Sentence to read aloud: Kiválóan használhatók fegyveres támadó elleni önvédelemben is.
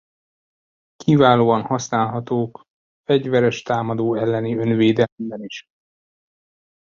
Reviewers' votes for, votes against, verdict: 1, 2, rejected